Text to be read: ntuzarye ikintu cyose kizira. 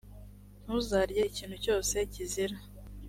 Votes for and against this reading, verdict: 4, 0, accepted